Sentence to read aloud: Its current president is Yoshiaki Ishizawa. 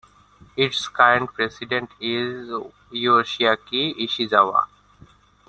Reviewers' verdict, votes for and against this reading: rejected, 1, 2